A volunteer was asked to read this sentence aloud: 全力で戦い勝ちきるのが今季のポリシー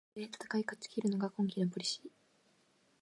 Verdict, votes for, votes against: rejected, 0, 2